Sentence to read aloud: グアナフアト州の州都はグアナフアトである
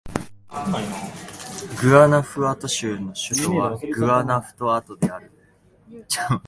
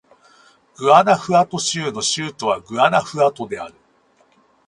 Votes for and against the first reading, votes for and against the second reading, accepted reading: 0, 2, 6, 0, second